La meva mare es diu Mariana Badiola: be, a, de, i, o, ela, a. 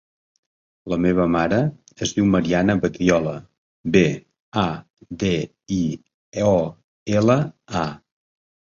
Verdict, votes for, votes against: rejected, 1, 2